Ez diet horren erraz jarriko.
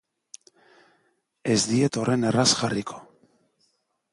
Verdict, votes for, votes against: accepted, 3, 0